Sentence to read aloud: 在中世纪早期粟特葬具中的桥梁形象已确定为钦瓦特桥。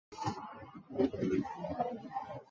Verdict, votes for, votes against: rejected, 1, 3